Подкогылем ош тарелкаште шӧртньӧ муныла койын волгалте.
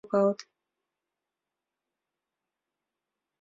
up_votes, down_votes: 1, 2